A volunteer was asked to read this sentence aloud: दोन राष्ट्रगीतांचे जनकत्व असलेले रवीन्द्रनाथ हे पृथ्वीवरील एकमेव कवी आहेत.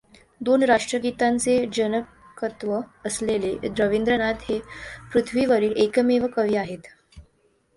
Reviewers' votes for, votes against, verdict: 2, 0, accepted